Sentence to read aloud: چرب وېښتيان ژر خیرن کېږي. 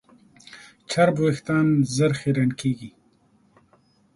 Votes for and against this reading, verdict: 1, 2, rejected